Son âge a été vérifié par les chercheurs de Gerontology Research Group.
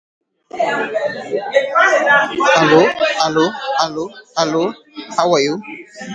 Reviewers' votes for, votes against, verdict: 0, 2, rejected